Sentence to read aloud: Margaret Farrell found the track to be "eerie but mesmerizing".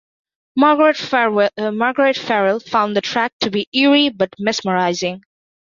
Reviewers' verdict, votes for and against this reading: rejected, 0, 2